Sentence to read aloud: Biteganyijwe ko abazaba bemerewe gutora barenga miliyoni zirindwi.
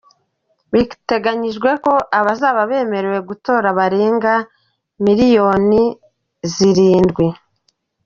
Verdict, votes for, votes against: accepted, 2, 1